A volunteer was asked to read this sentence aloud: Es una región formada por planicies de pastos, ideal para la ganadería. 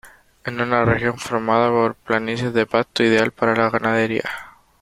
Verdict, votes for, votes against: rejected, 0, 2